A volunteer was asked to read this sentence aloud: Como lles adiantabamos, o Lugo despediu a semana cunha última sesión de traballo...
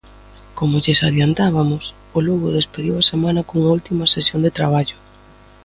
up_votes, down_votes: 2, 0